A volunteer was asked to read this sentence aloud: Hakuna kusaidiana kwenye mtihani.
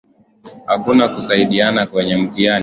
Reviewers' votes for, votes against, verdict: 4, 0, accepted